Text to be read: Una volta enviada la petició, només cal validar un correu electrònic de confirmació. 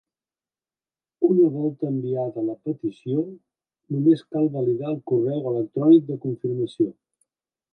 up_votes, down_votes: 1, 2